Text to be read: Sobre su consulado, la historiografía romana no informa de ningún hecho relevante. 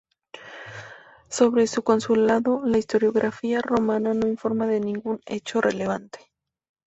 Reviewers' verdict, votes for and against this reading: accepted, 2, 0